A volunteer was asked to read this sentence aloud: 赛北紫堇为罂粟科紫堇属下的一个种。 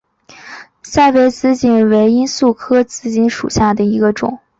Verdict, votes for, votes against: accepted, 5, 0